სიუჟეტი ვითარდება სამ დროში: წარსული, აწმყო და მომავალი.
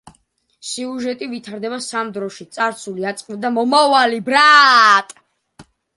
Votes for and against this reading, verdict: 0, 2, rejected